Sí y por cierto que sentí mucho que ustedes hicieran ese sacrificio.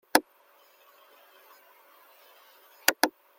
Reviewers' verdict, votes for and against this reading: rejected, 0, 2